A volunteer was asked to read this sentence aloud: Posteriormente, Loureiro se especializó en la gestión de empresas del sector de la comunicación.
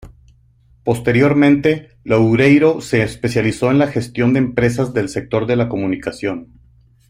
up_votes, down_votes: 2, 1